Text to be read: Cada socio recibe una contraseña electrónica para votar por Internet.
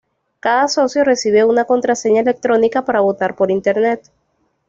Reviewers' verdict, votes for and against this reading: accepted, 2, 0